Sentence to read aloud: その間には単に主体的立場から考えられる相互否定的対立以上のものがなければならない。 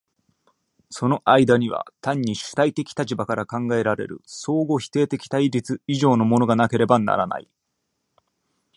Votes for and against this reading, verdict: 2, 0, accepted